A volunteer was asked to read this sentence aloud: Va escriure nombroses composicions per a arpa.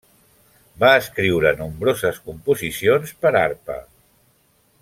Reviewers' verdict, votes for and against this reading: accepted, 2, 1